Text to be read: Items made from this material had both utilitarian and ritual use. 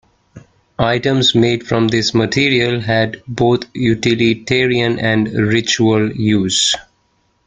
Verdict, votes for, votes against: accepted, 2, 1